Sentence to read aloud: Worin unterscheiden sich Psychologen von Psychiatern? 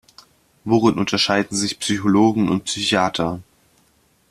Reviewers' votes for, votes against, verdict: 0, 2, rejected